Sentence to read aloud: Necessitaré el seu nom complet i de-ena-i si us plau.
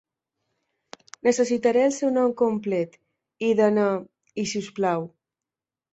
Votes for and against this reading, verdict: 2, 3, rejected